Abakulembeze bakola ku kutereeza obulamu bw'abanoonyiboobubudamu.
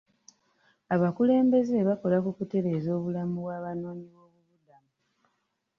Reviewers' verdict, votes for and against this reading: rejected, 0, 2